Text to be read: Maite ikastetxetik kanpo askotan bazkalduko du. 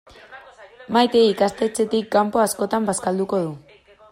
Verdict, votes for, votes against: accepted, 2, 0